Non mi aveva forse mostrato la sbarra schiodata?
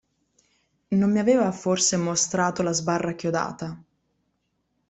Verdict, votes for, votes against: rejected, 1, 2